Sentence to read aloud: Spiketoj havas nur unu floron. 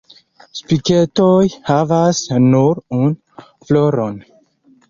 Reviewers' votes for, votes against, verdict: 2, 4, rejected